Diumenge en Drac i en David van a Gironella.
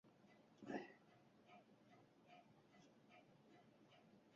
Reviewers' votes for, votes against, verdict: 0, 2, rejected